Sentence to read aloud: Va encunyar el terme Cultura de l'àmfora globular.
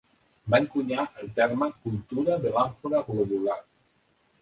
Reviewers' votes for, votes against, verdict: 0, 2, rejected